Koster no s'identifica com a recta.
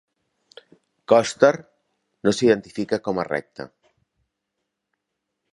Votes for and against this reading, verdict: 2, 0, accepted